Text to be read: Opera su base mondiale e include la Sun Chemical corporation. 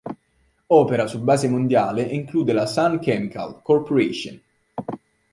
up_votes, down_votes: 2, 0